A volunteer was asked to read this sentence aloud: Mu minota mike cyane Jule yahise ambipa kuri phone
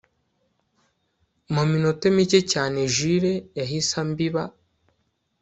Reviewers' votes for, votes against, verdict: 0, 2, rejected